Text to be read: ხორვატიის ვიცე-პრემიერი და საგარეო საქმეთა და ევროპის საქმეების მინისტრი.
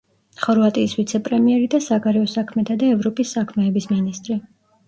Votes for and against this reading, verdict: 1, 2, rejected